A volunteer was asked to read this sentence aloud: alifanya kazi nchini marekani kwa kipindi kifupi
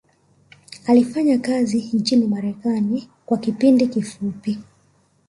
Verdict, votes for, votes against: rejected, 0, 2